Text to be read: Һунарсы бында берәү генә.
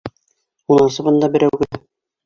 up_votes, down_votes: 0, 2